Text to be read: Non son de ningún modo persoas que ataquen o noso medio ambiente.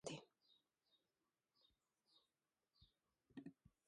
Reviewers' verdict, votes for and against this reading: rejected, 0, 2